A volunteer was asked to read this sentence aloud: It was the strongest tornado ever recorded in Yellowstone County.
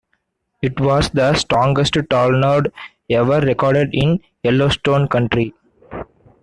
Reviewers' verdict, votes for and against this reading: rejected, 0, 2